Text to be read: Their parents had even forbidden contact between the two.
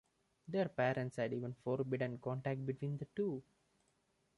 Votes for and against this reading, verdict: 2, 1, accepted